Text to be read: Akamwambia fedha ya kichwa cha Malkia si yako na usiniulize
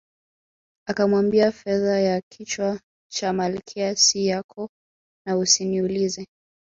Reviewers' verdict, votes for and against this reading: accepted, 2, 0